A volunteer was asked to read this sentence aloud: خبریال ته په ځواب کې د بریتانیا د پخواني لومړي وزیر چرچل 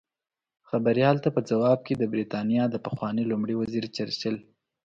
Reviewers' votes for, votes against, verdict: 2, 0, accepted